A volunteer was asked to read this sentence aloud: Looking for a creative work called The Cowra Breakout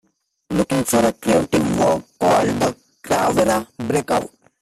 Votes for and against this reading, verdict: 0, 3, rejected